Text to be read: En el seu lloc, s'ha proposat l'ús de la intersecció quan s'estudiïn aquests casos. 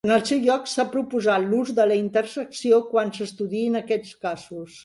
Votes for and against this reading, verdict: 1, 2, rejected